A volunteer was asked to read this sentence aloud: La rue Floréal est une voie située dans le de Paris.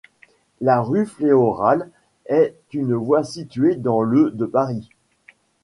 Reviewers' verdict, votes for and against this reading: rejected, 1, 2